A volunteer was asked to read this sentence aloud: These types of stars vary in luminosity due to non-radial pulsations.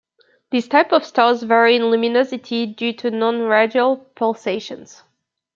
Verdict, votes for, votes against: rejected, 0, 2